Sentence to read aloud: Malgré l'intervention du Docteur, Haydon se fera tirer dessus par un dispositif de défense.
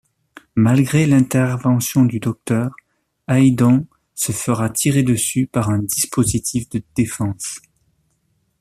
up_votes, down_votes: 2, 0